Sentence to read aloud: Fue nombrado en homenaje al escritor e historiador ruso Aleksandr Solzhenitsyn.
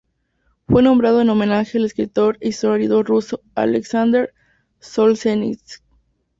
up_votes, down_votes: 2, 0